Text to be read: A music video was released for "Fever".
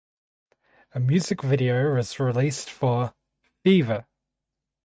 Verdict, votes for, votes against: rejected, 2, 4